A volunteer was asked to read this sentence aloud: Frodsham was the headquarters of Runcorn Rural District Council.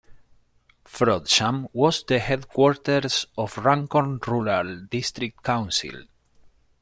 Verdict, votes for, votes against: rejected, 1, 2